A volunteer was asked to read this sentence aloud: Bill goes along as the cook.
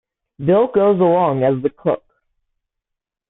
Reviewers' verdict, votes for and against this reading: accepted, 2, 0